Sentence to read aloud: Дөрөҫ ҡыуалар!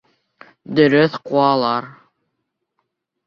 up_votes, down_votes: 1, 2